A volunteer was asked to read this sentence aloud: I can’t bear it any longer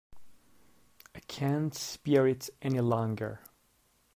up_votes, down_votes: 1, 2